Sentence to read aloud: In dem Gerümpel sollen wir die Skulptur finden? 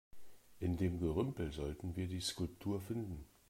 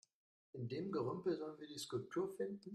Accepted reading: second